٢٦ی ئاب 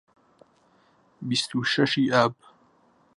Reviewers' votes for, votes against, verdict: 0, 2, rejected